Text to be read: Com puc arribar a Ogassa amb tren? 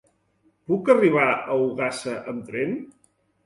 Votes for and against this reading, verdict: 0, 2, rejected